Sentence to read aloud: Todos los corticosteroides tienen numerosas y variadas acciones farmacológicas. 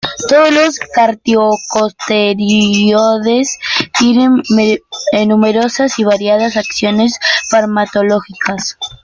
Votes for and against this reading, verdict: 0, 2, rejected